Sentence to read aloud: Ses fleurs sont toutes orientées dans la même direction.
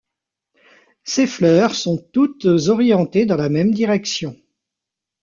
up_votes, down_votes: 2, 0